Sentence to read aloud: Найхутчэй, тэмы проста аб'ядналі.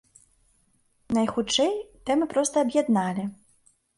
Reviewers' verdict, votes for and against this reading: accepted, 2, 0